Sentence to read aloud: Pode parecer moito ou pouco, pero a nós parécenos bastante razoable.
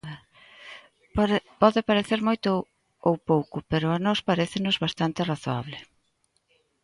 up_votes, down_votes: 0, 2